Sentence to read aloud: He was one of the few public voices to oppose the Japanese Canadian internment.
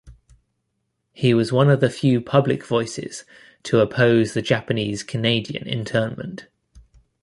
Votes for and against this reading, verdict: 2, 0, accepted